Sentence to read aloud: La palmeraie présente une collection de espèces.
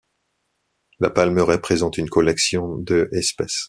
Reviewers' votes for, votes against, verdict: 2, 0, accepted